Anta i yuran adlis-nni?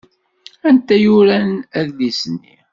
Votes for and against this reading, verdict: 2, 0, accepted